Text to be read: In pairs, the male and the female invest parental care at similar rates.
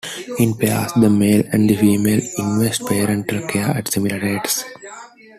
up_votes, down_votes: 2, 0